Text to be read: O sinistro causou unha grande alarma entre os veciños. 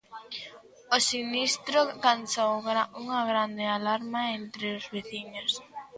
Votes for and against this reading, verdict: 0, 2, rejected